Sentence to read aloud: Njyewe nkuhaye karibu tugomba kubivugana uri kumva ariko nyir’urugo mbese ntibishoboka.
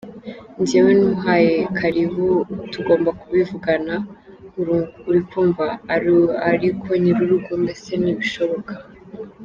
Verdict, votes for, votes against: rejected, 1, 2